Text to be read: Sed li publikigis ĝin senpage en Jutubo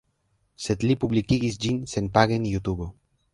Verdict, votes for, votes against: accepted, 3, 1